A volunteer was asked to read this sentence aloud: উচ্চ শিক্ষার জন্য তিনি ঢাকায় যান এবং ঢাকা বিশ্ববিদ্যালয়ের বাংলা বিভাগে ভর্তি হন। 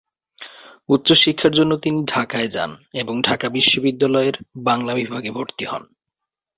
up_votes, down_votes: 2, 0